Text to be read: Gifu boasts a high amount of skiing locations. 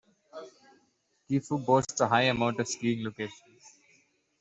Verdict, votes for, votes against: accepted, 2, 1